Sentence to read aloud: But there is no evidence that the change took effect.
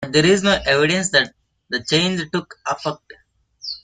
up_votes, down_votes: 0, 2